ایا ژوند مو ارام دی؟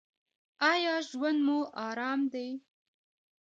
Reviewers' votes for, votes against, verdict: 1, 2, rejected